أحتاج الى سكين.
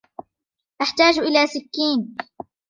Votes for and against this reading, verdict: 2, 1, accepted